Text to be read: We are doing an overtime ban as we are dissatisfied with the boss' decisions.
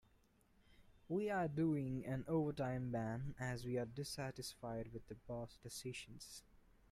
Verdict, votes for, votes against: rejected, 1, 2